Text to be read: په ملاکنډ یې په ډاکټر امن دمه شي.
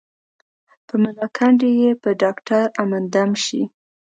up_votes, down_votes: 1, 2